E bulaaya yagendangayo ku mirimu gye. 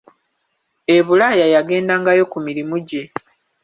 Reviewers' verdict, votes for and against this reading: accepted, 2, 1